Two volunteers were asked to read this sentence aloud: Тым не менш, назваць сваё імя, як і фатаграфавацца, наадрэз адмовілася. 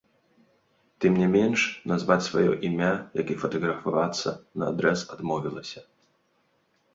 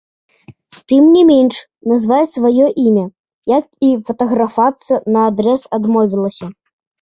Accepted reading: first